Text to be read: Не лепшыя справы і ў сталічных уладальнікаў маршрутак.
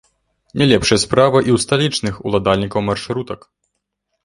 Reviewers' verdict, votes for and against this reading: rejected, 1, 2